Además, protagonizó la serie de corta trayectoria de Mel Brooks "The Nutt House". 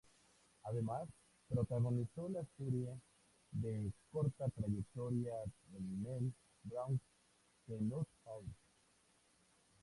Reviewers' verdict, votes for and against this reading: rejected, 0, 2